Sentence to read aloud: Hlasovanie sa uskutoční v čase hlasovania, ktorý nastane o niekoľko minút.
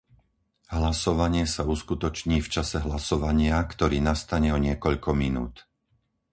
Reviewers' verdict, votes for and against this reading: accepted, 4, 0